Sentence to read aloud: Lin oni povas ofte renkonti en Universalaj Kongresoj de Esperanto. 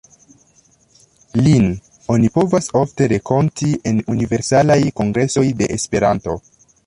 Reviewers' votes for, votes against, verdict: 0, 2, rejected